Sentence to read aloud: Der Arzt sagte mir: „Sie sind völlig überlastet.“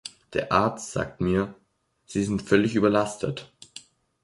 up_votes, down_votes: 1, 3